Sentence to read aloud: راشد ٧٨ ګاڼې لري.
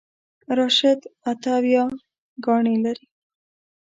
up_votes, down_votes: 0, 2